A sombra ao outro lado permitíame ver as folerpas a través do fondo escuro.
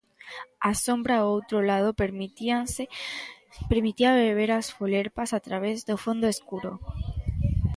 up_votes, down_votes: 0, 2